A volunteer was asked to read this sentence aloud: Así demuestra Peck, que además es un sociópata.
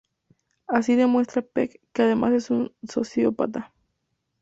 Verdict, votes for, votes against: accepted, 2, 0